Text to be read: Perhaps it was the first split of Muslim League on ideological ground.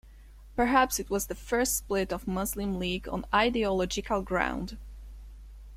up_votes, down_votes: 2, 3